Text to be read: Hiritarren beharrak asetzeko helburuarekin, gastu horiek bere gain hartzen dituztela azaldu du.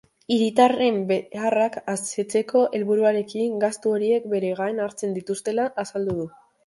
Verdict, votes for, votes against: rejected, 0, 2